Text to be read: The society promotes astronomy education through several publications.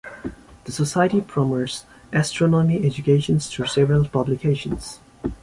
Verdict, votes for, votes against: accepted, 2, 1